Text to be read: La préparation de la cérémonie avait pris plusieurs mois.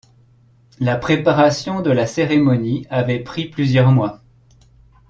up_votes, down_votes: 2, 0